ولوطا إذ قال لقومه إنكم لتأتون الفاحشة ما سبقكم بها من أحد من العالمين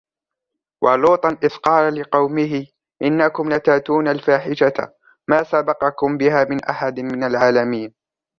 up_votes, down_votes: 0, 2